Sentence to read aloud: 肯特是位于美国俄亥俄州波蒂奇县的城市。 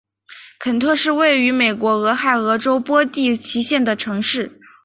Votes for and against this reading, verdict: 3, 1, accepted